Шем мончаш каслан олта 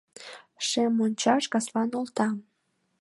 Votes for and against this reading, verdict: 2, 0, accepted